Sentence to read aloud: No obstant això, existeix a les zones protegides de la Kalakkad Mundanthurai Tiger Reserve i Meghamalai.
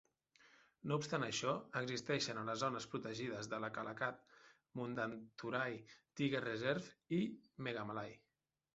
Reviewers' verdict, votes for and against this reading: rejected, 1, 2